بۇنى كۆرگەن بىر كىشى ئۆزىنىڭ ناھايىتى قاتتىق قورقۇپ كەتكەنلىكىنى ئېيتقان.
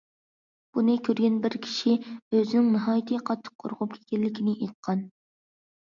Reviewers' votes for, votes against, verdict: 2, 0, accepted